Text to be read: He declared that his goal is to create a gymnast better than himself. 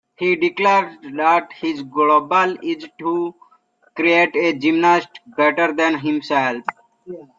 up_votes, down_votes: 0, 2